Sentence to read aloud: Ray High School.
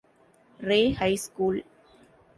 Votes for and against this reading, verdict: 2, 0, accepted